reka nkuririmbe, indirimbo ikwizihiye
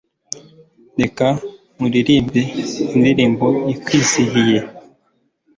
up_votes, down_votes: 2, 0